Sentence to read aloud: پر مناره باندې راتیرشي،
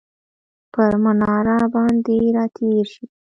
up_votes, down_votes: 2, 0